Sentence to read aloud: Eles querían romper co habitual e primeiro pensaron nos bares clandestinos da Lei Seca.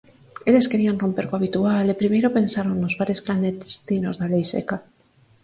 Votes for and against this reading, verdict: 2, 4, rejected